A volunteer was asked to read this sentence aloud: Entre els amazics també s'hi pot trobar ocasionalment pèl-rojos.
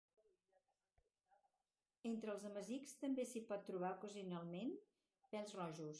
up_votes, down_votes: 2, 2